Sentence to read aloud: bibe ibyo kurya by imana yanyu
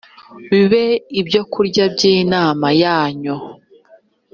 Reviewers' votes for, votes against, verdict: 1, 2, rejected